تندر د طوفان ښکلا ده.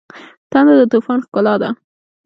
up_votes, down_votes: 1, 2